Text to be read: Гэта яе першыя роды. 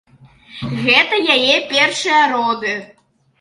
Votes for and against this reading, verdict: 3, 0, accepted